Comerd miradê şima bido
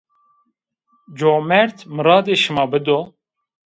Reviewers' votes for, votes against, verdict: 2, 0, accepted